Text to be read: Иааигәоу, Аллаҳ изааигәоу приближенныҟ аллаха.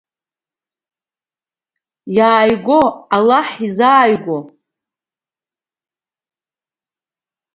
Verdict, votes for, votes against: rejected, 0, 2